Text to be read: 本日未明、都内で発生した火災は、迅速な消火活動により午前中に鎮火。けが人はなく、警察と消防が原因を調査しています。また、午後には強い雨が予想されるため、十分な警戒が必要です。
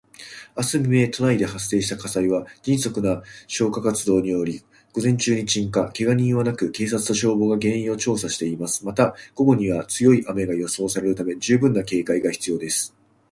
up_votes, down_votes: 0, 3